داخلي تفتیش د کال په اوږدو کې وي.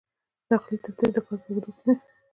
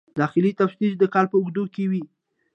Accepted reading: second